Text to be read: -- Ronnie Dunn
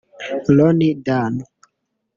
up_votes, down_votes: 0, 2